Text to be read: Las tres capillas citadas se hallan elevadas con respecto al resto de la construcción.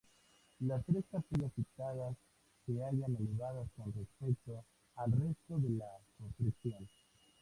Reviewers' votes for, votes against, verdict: 2, 0, accepted